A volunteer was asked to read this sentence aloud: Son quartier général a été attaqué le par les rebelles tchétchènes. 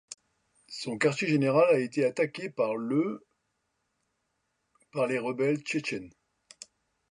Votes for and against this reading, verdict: 2, 0, accepted